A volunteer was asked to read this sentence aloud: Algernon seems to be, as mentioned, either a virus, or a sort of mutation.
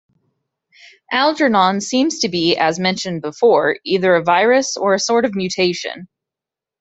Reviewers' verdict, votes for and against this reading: rejected, 1, 2